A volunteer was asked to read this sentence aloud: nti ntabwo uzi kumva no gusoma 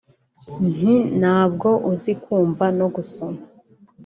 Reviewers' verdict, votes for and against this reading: accepted, 2, 0